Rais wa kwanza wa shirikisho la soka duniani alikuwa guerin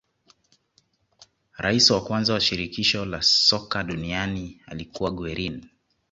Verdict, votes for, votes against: accepted, 2, 0